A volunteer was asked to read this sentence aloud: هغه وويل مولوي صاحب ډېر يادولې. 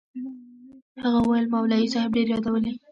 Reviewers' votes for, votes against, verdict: 1, 2, rejected